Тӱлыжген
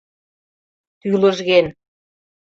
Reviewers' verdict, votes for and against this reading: accepted, 2, 0